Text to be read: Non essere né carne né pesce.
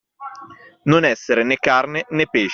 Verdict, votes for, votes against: rejected, 0, 2